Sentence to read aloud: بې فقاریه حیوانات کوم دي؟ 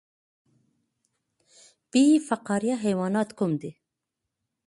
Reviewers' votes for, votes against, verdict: 2, 0, accepted